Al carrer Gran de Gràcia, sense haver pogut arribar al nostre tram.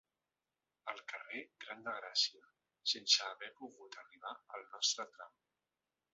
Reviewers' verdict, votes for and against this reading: rejected, 1, 2